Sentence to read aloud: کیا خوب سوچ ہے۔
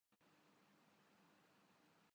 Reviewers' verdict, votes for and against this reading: rejected, 0, 2